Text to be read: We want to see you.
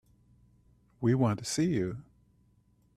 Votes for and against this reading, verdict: 2, 0, accepted